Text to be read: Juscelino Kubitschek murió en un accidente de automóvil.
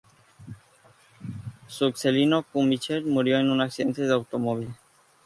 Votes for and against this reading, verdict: 0, 2, rejected